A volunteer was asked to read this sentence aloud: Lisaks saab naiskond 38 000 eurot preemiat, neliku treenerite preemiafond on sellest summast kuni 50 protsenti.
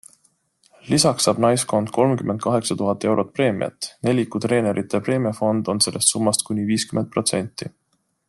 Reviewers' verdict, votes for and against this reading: rejected, 0, 2